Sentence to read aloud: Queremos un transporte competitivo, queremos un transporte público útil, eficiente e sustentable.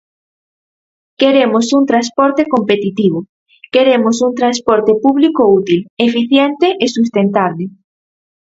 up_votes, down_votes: 4, 0